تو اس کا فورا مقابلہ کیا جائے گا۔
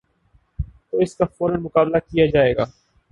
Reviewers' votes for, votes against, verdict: 11, 1, accepted